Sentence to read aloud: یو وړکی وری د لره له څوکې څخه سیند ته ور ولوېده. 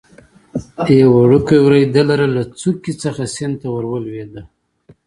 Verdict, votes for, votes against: accepted, 2, 0